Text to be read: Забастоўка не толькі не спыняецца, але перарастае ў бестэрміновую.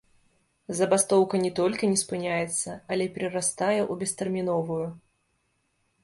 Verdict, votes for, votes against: rejected, 0, 2